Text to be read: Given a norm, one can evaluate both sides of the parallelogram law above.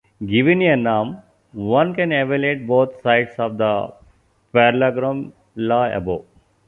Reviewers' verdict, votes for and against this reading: rejected, 1, 2